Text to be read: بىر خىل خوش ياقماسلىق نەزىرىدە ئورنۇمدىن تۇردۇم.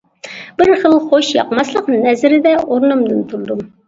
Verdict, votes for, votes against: accepted, 2, 0